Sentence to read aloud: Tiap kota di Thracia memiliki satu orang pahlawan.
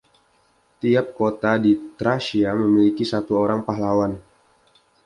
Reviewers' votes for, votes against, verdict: 2, 1, accepted